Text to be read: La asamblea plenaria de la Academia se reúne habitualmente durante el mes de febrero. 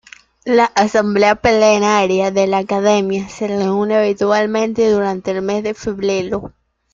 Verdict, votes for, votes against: rejected, 0, 2